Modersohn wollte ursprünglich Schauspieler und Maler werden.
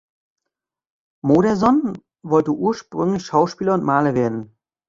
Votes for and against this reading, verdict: 2, 0, accepted